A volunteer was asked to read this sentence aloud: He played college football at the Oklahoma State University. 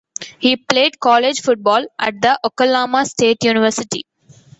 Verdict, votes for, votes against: rejected, 0, 2